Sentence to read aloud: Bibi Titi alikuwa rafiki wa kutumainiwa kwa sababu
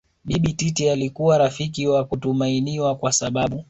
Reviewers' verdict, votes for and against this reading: rejected, 1, 2